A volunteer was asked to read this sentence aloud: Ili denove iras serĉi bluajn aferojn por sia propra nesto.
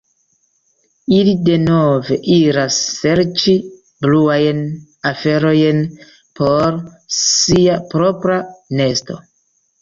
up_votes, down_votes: 2, 0